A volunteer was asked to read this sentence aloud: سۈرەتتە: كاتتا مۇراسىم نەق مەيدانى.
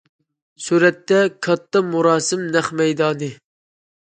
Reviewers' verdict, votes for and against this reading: accepted, 2, 0